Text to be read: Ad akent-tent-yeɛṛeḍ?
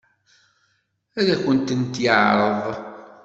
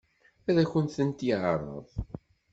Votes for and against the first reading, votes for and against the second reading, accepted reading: 2, 0, 1, 2, first